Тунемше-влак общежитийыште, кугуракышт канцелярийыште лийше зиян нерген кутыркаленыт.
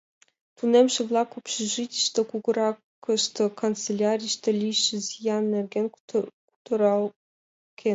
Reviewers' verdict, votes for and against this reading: rejected, 0, 2